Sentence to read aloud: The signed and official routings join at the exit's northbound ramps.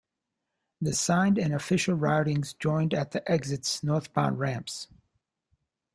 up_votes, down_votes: 1, 2